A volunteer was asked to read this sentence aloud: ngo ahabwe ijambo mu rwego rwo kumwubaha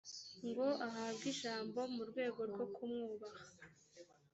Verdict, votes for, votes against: rejected, 1, 2